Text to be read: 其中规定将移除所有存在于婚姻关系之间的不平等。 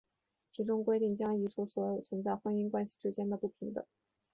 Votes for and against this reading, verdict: 2, 0, accepted